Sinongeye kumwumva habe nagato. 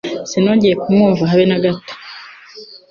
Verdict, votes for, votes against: accepted, 2, 0